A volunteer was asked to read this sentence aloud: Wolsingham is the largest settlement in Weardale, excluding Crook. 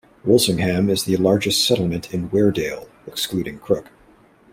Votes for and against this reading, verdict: 2, 0, accepted